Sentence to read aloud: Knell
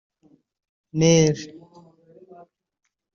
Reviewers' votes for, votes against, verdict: 0, 2, rejected